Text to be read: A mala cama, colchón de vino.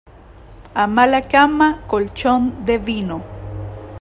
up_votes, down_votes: 3, 0